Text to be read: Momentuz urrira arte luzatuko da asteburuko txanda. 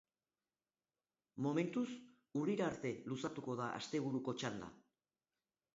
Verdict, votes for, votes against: accepted, 2, 0